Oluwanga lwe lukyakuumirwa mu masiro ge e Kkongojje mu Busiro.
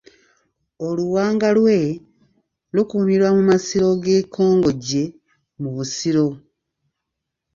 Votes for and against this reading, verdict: 0, 2, rejected